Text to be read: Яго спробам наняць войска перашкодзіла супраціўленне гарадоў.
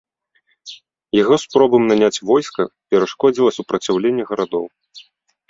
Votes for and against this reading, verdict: 2, 0, accepted